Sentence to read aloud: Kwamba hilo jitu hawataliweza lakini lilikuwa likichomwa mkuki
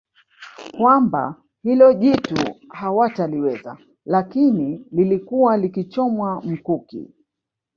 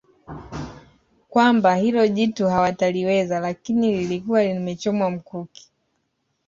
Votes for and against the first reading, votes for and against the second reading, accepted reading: 1, 2, 2, 1, second